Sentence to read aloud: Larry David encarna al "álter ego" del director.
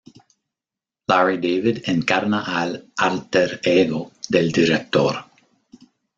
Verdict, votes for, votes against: accepted, 2, 0